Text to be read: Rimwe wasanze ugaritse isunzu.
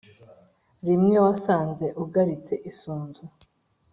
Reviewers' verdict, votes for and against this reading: accepted, 4, 0